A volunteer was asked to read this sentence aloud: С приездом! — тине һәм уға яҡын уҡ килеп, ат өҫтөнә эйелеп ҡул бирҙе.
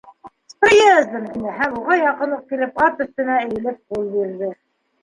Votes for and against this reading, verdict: 2, 1, accepted